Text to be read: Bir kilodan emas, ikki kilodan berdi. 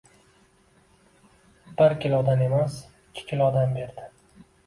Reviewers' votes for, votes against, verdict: 2, 0, accepted